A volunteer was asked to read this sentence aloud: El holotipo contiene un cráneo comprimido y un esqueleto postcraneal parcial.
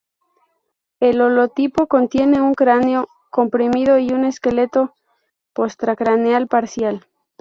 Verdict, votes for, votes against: rejected, 0, 2